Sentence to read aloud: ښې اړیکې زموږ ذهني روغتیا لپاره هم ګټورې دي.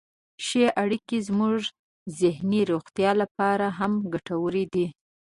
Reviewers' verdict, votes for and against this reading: accepted, 2, 0